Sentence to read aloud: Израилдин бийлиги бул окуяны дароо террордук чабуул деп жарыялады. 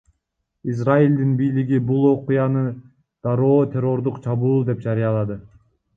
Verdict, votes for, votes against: rejected, 1, 2